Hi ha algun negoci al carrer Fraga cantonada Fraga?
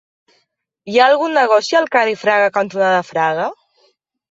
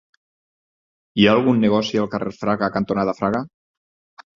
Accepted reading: first